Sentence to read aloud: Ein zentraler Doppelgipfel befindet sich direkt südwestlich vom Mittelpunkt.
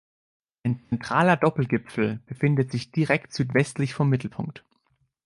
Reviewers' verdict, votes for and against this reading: rejected, 0, 2